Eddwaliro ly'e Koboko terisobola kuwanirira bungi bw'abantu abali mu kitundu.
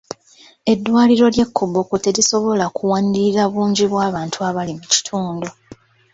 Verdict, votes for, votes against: rejected, 0, 2